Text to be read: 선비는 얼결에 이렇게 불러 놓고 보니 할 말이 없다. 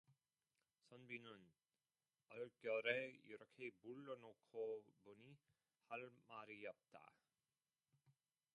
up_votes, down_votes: 1, 2